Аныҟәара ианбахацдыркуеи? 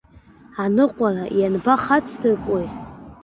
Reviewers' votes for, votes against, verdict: 2, 0, accepted